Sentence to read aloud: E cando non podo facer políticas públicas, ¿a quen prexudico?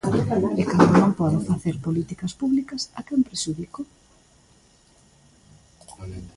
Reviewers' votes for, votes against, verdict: 0, 2, rejected